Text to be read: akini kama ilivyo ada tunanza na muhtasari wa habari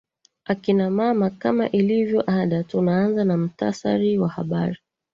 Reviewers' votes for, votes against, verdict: 1, 2, rejected